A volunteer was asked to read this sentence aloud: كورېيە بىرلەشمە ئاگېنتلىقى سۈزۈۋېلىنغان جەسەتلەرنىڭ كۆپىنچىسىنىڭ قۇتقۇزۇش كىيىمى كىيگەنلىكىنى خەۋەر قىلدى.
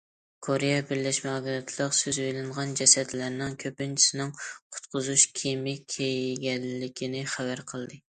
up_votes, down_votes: 0, 2